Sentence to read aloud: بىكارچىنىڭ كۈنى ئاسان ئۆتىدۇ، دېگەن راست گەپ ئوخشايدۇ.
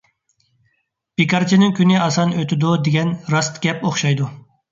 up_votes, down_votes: 2, 0